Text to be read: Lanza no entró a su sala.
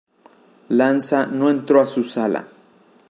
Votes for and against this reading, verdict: 2, 0, accepted